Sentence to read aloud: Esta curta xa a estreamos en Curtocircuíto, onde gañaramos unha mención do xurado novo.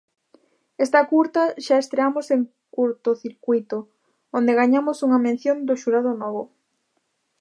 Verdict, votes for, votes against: rejected, 0, 2